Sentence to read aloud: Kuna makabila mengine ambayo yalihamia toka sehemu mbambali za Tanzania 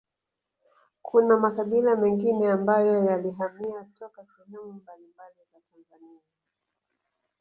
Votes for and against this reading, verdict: 2, 0, accepted